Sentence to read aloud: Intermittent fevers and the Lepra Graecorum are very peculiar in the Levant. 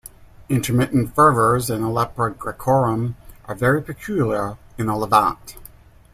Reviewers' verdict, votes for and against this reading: rejected, 0, 2